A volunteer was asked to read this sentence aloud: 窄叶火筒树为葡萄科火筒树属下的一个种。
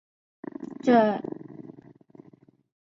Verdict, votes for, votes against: rejected, 0, 2